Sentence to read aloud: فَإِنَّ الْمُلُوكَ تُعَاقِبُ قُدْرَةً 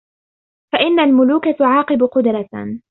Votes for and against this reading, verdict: 2, 0, accepted